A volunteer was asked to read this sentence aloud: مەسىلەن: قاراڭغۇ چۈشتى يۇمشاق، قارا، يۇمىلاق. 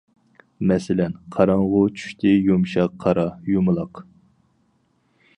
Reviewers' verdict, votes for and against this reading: accepted, 4, 0